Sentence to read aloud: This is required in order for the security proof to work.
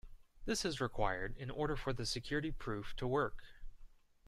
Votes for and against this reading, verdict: 2, 0, accepted